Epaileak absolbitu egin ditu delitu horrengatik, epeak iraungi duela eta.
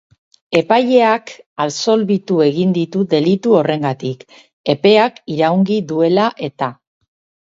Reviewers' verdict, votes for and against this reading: accepted, 4, 2